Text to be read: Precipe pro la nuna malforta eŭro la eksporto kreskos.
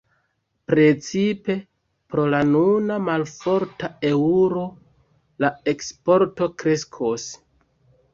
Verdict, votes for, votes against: rejected, 1, 2